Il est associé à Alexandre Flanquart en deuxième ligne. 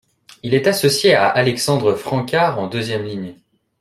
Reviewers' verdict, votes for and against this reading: rejected, 0, 2